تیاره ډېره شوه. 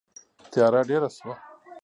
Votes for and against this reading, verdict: 1, 2, rejected